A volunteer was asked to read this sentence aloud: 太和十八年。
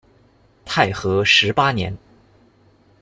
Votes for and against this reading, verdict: 2, 1, accepted